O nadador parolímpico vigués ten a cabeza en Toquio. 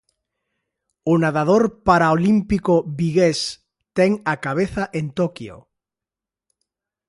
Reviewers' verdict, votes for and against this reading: rejected, 0, 2